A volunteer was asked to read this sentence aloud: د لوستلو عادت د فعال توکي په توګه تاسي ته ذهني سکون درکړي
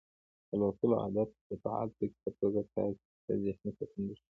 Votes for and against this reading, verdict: 0, 2, rejected